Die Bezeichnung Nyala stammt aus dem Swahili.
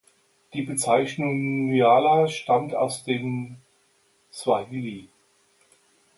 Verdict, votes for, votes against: accepted, 2, 0